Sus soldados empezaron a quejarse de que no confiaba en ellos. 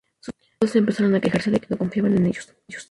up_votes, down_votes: 0, 4